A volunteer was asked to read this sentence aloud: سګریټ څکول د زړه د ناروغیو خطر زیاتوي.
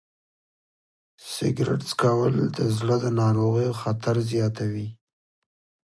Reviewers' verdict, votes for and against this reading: rejected, 1, 2